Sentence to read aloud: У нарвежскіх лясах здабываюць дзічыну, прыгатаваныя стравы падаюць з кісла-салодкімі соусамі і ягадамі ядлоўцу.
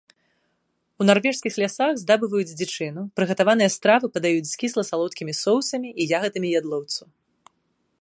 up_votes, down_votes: 0, 2